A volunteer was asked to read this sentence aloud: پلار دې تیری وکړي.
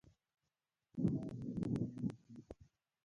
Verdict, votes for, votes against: rejected, 0, 2